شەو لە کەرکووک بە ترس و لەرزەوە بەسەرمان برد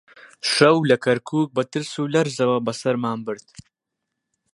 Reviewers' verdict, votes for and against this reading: accepted, 2, 0